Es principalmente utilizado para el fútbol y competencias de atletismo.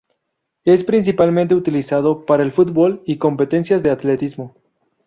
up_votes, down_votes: 2, 0